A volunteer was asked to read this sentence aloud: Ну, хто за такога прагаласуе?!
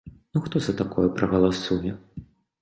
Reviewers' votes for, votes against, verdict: 1, 2, rejected